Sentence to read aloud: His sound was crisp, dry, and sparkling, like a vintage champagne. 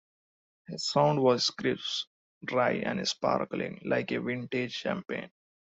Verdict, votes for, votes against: accepted, 2, 0